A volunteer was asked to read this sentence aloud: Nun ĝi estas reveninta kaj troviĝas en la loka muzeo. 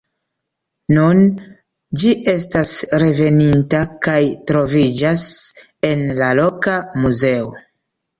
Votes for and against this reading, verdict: 2, 1, accepted